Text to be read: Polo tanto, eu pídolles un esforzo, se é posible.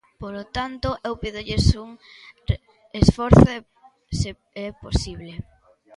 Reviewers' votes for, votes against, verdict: 0, 2, rejected